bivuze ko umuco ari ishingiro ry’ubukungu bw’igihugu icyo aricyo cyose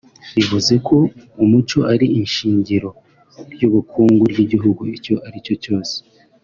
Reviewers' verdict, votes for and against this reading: rejected, 1, 2